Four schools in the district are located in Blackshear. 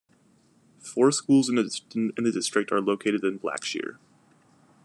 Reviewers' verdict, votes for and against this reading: rejected, 1, 2